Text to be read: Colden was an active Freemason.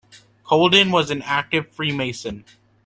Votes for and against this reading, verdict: 2, 0, accepted